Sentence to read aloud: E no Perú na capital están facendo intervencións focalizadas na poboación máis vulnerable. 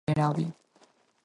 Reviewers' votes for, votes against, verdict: 0, 4, rejected